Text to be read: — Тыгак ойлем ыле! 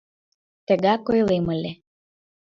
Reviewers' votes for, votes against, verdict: 3, 0, accepted